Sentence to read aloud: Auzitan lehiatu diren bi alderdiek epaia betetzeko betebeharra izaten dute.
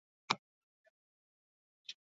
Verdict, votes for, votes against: rejected, 0, 4